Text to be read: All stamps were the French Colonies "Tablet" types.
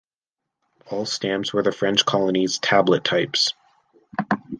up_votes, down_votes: 2, 0